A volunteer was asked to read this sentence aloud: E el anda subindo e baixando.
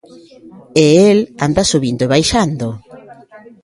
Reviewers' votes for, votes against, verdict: 2, 0, accepted